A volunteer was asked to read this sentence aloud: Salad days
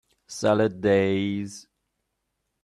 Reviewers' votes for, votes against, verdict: 2, 0, accepted